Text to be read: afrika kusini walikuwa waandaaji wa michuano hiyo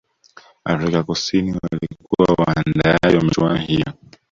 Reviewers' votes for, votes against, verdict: 0, 2, rejected